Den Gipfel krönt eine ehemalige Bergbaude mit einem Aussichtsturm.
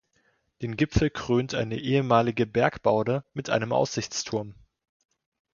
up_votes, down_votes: 2, 0